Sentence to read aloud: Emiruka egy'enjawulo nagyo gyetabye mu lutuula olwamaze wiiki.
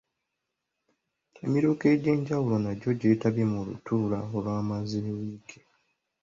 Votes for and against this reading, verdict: 2, 1, accepted